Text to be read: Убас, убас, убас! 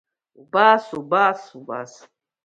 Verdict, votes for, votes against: accepted, 2, 1